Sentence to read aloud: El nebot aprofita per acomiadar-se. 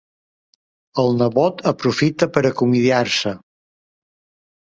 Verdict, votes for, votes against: rejected, 0, 2